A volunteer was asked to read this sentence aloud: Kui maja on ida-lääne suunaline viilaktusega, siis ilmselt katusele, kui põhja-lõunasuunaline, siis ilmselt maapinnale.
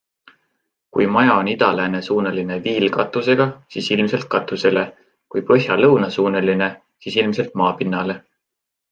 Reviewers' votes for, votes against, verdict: 2, 0, accepted